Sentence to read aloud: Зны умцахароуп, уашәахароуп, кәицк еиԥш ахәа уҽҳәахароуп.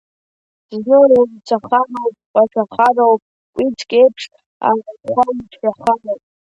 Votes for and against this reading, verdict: 1, 2, rejected